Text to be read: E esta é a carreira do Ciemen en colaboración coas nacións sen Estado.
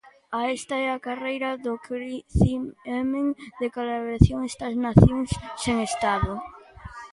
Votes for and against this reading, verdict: 0, 2, rejected